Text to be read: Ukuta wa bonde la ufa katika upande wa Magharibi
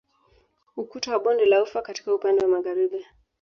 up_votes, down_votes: 1, 2